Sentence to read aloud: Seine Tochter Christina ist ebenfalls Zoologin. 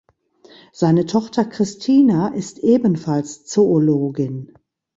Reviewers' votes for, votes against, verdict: 2, 0, accepted